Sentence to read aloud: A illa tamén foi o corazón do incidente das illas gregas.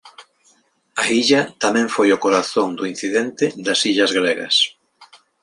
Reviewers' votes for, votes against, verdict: 3, 0, accepted